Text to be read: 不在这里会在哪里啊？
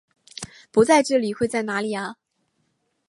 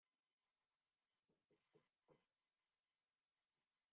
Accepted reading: first